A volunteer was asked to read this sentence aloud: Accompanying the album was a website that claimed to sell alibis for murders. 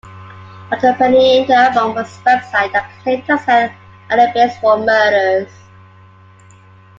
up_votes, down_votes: 0, 2